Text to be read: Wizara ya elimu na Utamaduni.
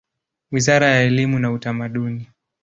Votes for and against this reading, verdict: 2, 0, accepted